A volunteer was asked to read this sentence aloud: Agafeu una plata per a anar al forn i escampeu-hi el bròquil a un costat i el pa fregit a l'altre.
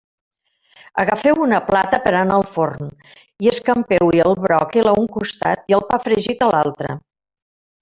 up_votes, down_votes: 1, 2